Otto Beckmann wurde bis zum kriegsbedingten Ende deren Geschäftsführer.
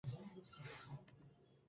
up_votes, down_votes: 0, 2